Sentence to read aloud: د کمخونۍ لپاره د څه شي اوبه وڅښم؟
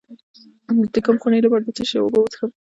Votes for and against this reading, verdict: 1, 2, rejected